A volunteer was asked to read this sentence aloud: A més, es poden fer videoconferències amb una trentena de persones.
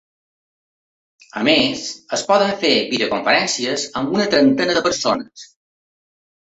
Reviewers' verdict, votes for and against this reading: accepted, 2, 0